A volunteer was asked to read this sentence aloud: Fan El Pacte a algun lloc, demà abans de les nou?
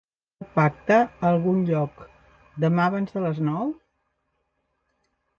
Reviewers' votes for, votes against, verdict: 0, 2, rejected